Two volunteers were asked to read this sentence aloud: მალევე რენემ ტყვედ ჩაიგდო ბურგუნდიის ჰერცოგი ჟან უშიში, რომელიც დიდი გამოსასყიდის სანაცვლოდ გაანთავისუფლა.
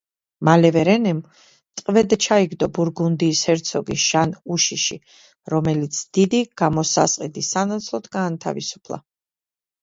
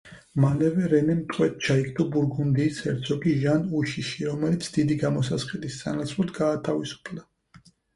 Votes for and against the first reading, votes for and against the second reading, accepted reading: 2, 0, 2, 4, first